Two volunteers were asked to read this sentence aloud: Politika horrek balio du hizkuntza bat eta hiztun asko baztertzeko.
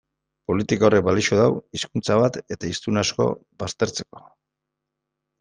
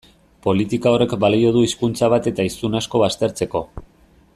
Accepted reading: second